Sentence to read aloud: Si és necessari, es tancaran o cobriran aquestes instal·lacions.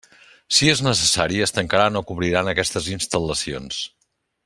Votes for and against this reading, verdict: 2, 0, accepted